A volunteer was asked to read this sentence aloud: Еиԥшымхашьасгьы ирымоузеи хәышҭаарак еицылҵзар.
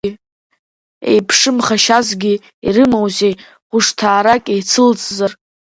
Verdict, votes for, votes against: rejected, 1, 2